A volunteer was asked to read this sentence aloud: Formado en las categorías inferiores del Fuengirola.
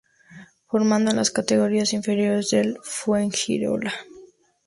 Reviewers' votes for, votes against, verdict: 2, 0, accepted